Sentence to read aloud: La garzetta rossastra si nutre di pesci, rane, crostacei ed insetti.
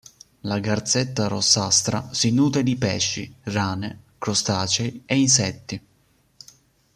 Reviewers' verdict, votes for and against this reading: rejected, 1, 2